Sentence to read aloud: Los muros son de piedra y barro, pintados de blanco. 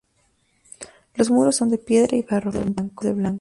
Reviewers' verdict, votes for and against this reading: rejected, 0, 6